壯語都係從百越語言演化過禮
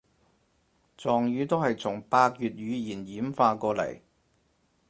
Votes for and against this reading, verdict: 0, 4, rejected